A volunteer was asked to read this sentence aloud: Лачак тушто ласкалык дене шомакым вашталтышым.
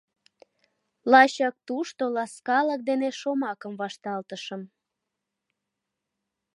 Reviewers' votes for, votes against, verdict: 2, 0, accepted